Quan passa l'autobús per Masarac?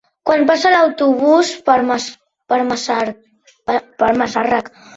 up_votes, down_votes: 0, 2